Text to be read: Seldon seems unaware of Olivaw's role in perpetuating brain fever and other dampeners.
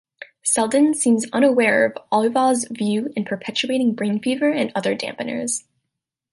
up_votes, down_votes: 0, 2